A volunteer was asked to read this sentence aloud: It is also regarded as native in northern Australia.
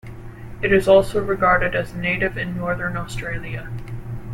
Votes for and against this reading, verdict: 2, 0, accepted